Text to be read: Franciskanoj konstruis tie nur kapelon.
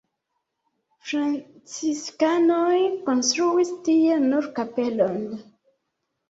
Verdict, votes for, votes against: rejected, 1, 2